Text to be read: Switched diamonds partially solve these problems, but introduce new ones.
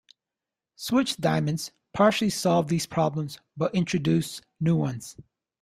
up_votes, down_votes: 2, 0